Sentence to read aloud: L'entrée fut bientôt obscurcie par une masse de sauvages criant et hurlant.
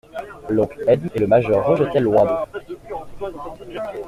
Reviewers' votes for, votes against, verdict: 0, 2, rejected